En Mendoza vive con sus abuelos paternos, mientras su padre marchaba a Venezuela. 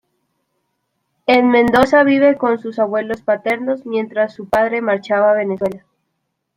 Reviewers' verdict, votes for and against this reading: accepted, 2, 0